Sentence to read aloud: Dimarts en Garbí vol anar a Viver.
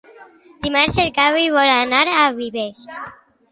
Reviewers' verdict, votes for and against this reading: rejected, 0, 2